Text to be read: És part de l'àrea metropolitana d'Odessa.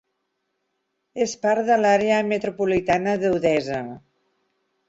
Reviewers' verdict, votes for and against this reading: accepted, 2, 0